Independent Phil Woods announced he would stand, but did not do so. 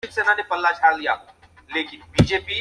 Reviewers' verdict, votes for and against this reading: rejected, 0, 2